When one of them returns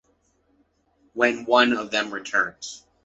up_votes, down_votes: 2, 1